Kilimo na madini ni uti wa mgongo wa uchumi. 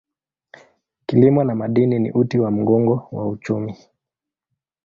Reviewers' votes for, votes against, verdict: 2, 0, accepted